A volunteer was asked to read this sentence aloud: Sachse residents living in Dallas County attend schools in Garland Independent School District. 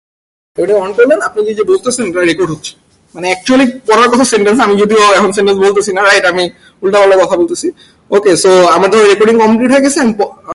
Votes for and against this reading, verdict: 0, 2, rejected